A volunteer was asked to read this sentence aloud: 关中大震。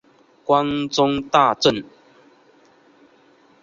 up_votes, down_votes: 3, 0